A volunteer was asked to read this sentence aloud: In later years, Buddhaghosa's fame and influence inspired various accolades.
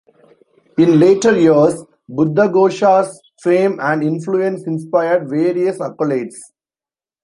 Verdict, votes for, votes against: accepted, 2, 1